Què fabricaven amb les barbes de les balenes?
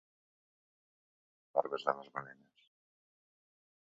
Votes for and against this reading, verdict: 0, 2, rejected